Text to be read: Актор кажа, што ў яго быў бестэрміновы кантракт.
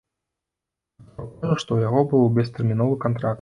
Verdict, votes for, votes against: rejected, 0, 2